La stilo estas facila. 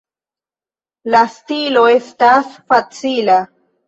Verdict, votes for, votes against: accepted, 2, 1